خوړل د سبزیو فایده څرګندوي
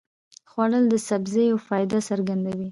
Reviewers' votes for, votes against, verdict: 0, 2, rejected